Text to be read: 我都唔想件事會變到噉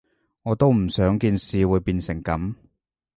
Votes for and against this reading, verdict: 0, 2, rejected